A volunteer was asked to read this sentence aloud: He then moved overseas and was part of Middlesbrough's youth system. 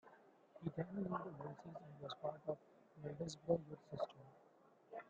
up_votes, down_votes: 0, 2